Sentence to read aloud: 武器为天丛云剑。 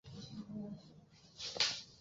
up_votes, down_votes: 0, 3